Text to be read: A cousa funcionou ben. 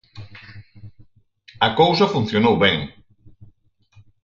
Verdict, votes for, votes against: rejected, 2, 4